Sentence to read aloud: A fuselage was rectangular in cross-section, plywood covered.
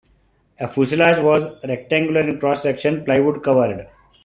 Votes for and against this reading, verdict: 2, 0, accepted